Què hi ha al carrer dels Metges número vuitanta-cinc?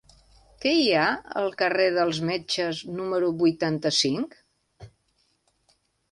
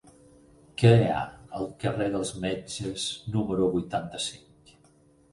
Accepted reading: first